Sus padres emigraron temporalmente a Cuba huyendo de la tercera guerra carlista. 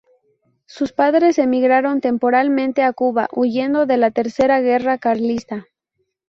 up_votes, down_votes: 2, 0